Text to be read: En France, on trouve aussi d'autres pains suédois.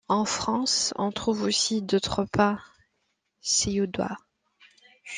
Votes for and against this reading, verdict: 0, 2, rejected